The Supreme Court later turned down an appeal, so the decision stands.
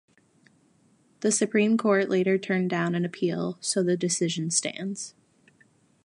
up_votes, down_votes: 2, 0